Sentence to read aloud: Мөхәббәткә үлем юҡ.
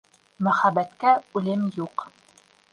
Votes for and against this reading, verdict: 2, 0, accepted